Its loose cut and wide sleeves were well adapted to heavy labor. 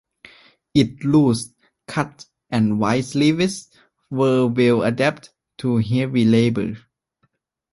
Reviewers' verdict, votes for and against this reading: rejected, 0, 3